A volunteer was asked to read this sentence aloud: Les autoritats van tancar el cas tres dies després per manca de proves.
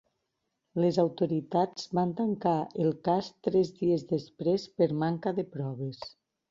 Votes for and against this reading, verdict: 4, 0, accepted